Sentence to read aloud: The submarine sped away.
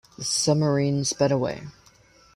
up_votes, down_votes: 0, 2